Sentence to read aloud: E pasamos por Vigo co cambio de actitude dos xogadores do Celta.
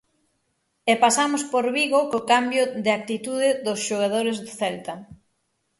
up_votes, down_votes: 6, 0